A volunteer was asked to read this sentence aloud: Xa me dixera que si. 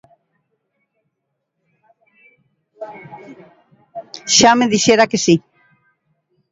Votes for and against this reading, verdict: 1, 2, rejected